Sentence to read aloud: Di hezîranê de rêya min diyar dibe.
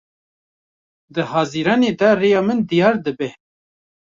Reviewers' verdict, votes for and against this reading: rejected, 0, 2